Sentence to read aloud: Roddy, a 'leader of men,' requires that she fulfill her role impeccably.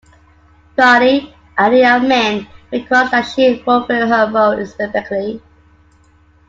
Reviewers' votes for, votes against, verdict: 1, 2, rejected